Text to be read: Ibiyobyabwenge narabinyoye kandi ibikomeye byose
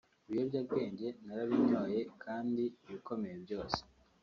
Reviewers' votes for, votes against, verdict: 2, 0, accepted